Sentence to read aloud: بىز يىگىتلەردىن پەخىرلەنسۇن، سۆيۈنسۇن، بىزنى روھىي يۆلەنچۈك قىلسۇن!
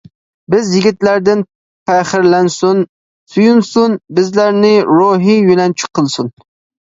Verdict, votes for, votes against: rejected, 0, 2